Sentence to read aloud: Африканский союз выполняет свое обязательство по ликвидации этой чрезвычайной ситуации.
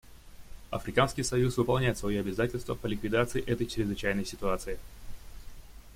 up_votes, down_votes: 2, 0